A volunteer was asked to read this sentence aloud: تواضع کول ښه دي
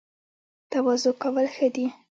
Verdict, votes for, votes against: accepted, 2, 1